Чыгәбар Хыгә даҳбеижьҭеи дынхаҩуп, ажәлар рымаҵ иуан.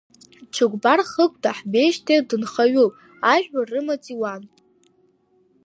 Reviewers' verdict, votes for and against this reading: rejected, 0, 2